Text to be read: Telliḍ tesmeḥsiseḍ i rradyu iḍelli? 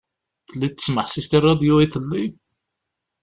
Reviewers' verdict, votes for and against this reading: accepted, 2, 0